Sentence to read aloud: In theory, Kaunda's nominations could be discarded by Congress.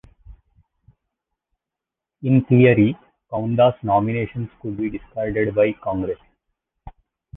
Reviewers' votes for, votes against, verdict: 2, 1, accepted